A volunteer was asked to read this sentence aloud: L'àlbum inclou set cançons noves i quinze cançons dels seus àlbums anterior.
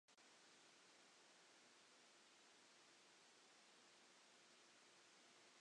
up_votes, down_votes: 0, 2